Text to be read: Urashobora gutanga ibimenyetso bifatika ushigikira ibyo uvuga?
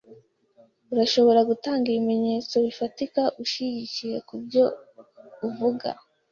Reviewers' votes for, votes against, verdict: 2, 0, accepted